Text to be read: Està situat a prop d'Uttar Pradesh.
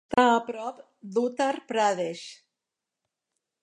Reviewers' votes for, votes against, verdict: 1, 2, rejected